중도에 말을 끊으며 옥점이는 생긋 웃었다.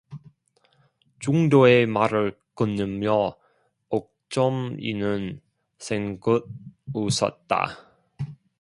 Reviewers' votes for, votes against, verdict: 2, 0, accepted